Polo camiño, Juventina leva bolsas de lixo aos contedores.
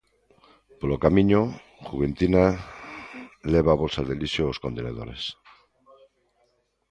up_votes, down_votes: 0, 3